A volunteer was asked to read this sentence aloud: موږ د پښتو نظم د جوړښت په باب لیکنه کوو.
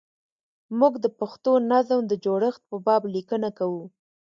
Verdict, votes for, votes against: accepted, 2, 0